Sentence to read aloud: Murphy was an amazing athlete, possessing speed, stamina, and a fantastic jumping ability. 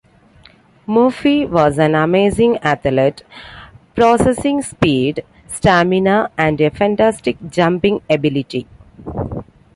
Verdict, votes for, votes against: rejected, 0, 2